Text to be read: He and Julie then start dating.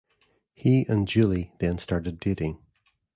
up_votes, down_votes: 1, 2